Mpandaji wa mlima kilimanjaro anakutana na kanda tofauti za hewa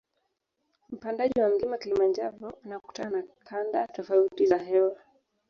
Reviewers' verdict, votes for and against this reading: rejected, 1, 2